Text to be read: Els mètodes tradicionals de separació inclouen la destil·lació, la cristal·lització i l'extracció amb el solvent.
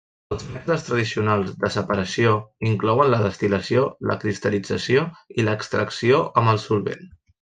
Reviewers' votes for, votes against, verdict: 0, 2, rejected